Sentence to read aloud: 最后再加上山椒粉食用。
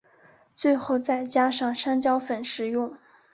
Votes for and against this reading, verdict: 1, 2, rejected